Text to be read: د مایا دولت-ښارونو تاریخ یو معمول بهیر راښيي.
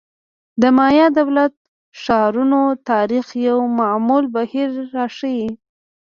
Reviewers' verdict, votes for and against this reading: accepted, 2, 1